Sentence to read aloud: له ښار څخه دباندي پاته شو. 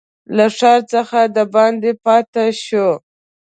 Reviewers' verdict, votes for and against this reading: accepted, 2, 0